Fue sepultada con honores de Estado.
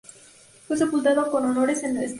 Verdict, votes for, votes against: rejected, 0, 2